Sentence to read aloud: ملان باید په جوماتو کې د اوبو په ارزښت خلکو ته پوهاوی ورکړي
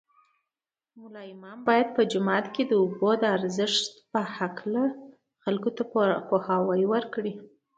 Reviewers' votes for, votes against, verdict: 2, 1, accepted